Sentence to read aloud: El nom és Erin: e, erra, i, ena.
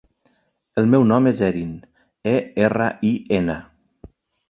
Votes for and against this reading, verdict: 0, 2, rejected